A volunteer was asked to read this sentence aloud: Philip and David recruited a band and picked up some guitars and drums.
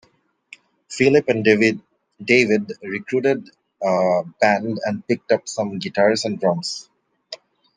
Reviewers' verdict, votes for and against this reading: rejected, 0, 2